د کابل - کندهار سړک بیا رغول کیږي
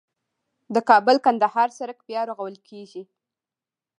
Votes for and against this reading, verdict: 2, 0, accepted